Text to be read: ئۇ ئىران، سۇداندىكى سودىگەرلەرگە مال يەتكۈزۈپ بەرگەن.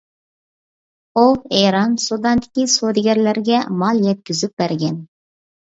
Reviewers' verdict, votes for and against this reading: accepted, 2, 0